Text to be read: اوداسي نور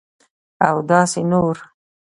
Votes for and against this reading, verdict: 0, 2, rejected